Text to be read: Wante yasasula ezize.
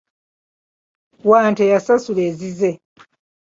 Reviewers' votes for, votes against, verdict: 2, 1, accepted